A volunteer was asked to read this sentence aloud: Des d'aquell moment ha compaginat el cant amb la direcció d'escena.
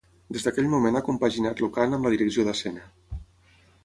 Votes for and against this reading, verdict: 0, 6, rejected